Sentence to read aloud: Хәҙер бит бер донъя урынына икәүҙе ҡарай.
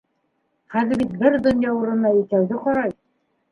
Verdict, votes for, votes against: accepted, 2, 0